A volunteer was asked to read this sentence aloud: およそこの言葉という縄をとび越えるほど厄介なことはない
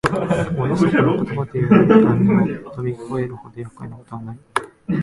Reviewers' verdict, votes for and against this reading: rejected, 1, 4